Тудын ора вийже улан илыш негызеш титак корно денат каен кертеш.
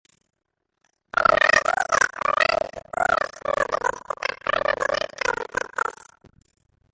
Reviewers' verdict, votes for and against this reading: rejected, 0, 2